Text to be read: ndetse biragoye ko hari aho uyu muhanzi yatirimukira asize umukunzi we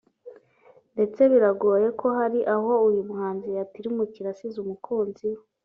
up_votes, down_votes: 2, 0